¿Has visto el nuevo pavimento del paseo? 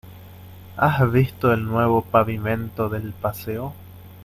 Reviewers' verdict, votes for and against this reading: accepted, 2, 0